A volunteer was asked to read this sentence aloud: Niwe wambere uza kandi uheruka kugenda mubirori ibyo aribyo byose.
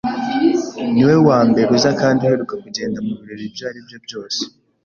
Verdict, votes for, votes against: accepted, 2, 0